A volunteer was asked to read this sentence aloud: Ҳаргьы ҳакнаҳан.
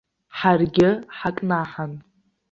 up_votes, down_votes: 2, 0